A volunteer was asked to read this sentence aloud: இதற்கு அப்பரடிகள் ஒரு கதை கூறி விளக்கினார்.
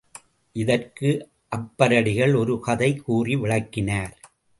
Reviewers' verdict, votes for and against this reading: rejected, 0, 2